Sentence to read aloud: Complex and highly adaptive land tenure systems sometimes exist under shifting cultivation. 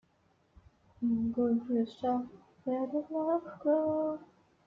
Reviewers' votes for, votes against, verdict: 0, 2, rejected